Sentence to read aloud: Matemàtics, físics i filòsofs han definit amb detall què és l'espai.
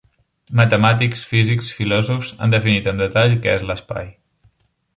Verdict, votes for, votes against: rejected, 0, 2